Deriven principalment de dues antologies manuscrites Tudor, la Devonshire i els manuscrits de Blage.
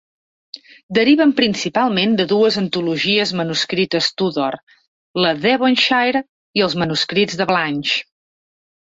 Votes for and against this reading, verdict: 1, 2, rejected